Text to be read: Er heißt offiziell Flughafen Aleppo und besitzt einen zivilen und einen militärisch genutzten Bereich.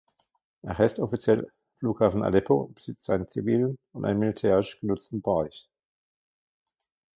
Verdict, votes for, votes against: rejected, 0, 2